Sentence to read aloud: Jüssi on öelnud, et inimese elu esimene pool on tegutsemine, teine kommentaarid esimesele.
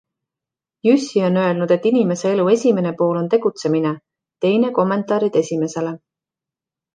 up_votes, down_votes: 2, 0